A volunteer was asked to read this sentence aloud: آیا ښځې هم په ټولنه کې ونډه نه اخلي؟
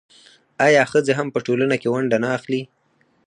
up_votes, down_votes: 4, 0